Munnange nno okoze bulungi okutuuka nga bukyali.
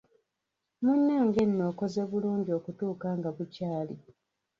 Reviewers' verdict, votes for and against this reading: rejected, 1, 2